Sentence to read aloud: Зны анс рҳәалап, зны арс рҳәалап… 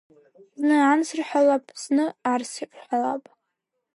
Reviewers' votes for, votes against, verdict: 3, 0, accepted